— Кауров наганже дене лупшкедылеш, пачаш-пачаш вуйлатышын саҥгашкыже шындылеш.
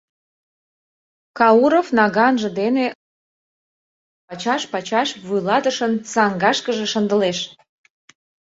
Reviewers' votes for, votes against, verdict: 0, 2, rejected